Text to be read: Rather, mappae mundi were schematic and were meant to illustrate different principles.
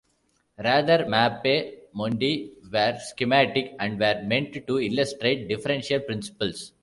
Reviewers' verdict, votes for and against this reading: rejected, 1, 3